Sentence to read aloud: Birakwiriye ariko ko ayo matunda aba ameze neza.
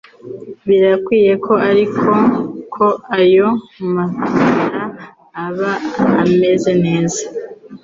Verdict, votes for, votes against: rejected, 1, 2